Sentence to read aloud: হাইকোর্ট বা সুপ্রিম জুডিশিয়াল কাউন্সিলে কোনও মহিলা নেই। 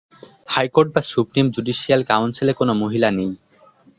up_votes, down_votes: 0, 2